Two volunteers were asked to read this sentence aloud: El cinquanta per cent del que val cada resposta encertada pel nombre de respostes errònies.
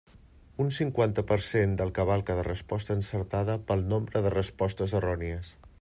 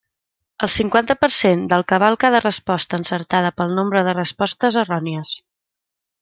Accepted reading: second